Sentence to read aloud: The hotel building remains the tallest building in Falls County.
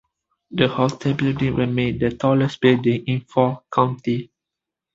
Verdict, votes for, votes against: rejected, 1, 3